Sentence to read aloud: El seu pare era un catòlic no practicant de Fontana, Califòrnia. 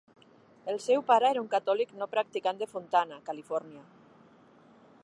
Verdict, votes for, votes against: accepted, 3, 0